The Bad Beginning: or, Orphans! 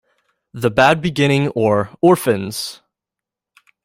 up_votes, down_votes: 3, 0